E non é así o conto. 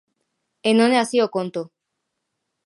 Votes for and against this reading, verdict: 2, 0, accepted